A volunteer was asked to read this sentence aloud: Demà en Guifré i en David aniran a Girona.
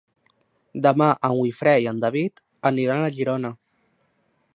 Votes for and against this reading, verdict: 1, 2, rejected